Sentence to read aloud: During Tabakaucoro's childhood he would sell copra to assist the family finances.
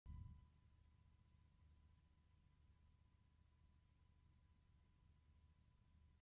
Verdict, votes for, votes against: rejected, 0, 2